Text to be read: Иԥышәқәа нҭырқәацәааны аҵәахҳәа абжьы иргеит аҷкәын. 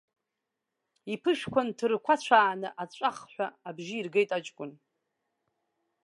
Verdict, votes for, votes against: rejected, 1, 2